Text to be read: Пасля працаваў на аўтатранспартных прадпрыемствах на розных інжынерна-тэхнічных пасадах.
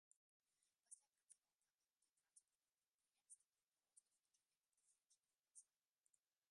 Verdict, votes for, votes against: rejected, 0, 2